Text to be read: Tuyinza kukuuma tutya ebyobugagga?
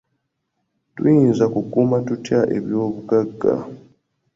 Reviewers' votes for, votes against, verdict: 3, 0, accepted